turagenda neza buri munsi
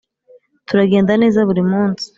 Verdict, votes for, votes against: accepted, 2, 0